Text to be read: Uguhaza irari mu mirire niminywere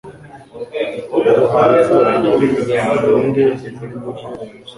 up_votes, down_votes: 0, 2